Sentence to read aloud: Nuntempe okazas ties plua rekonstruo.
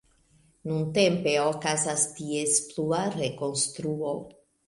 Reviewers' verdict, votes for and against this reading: accepted, 2, 0